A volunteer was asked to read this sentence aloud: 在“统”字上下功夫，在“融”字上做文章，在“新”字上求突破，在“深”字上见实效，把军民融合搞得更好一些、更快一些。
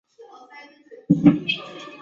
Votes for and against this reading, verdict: 0, 2, rejected